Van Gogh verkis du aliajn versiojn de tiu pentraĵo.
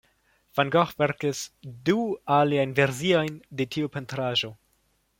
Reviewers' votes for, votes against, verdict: 3, 0, accepted